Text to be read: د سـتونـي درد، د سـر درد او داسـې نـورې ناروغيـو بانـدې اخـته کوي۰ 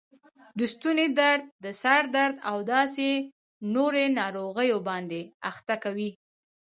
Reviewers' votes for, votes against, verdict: 0, 2, rejected